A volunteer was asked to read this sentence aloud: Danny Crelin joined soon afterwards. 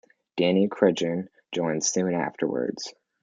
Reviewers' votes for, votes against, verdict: 0, 2, rejected